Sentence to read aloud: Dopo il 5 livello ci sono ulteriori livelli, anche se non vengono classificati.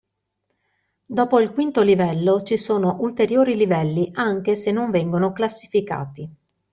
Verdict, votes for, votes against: rejected, 0, 2